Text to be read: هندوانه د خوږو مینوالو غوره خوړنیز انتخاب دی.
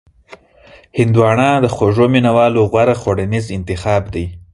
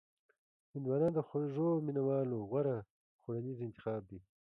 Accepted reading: first